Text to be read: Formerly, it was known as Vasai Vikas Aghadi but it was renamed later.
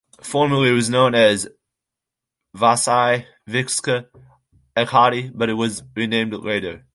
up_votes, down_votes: 0, 2